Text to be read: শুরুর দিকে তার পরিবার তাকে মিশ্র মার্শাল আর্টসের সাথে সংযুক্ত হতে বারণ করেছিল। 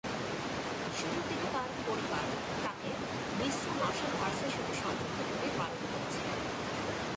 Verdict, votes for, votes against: rejected, 1, 3